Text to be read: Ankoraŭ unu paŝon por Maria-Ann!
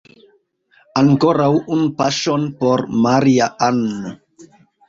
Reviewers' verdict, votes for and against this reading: rejected, 1, 2